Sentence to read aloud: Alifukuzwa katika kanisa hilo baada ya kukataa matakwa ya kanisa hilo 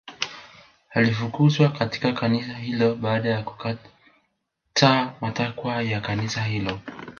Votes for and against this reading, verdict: 2, 3, rejected